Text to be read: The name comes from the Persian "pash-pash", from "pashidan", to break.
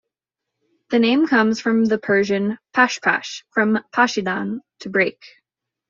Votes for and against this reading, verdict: 2, 0, accepted